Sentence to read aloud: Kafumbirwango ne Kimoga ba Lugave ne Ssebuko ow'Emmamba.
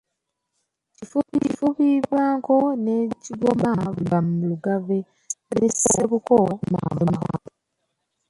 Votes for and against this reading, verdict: 0, 2, rejected